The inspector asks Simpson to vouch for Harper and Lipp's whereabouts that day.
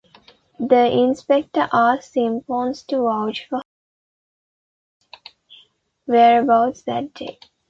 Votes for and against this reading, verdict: 0, 2, rejected